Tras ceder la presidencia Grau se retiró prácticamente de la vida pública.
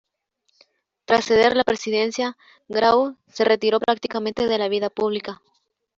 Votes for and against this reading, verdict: 0, 2, rejected